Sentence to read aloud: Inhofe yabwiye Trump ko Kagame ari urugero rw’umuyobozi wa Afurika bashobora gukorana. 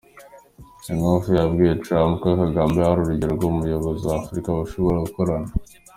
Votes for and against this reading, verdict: 2, 0, accepted